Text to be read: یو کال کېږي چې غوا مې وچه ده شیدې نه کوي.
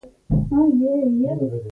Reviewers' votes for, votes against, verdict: 0, 2, rejected